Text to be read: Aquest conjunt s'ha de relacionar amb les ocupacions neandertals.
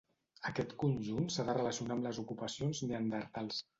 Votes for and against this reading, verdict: 2, 1, accepted